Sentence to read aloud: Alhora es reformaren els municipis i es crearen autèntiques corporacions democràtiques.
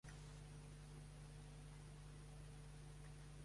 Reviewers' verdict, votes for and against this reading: rejected, 1, 2